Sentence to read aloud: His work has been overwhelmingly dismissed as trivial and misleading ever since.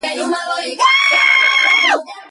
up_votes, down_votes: 0, 2